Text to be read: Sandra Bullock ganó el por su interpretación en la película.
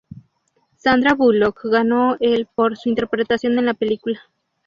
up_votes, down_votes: 2, 0